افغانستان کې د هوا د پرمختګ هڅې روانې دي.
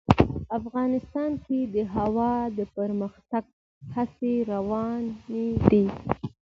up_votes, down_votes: 2, 0